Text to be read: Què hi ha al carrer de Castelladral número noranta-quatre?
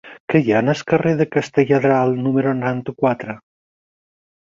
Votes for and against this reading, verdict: 6, 2, accepted